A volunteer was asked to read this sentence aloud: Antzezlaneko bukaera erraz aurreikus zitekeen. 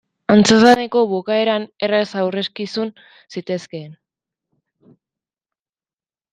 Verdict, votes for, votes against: rejected, 0, 2